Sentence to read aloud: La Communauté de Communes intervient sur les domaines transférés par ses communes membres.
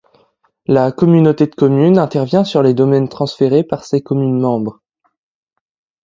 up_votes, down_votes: 2, 0